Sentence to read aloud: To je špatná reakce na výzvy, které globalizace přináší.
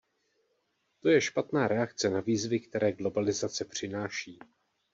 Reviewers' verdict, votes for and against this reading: accepted, 2, 0